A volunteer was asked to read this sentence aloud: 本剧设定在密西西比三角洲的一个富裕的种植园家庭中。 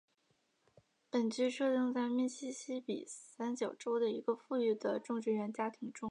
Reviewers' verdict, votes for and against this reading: accepted, 2, 0